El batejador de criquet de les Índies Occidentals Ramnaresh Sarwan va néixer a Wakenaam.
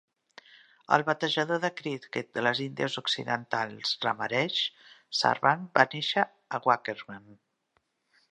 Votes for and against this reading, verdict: 1, 2, rejected